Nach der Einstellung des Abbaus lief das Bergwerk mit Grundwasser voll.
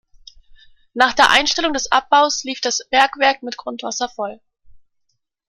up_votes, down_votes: 2, 0